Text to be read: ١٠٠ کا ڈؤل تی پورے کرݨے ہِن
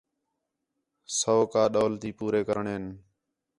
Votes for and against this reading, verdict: 0, 2, rejected